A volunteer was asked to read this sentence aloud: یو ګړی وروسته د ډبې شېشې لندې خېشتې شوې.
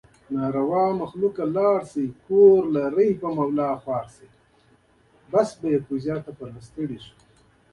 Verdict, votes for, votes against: rejected, 1, 3